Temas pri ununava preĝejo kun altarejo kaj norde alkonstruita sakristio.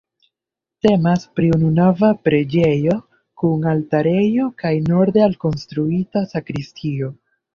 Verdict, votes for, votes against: accepted, 2, 0